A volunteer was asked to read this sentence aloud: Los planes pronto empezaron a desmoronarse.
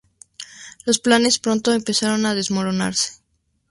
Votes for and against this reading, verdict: 2, 0, accepted